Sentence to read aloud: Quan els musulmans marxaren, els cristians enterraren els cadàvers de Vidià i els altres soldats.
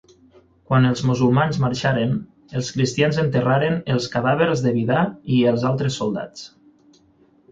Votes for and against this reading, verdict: 0, 6, rejected